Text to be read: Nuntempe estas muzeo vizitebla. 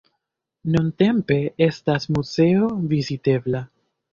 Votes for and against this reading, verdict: 2, 0, accepted